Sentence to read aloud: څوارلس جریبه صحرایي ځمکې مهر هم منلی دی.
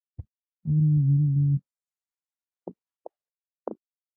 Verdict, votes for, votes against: rejected, 0, 2